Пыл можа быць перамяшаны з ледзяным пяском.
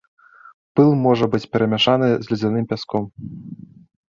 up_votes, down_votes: 2, 0